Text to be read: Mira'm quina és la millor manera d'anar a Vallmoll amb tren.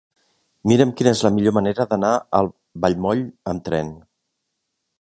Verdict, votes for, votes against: rejected, 0, 2